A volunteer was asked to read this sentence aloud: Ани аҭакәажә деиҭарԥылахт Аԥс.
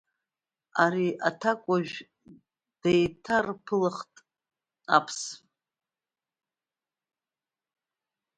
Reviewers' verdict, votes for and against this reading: accepted, 2, 1